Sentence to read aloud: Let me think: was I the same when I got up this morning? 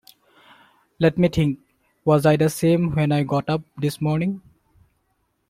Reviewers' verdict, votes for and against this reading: accepted, 2, 0